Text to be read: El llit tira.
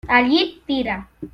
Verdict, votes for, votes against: accepted, 2, 0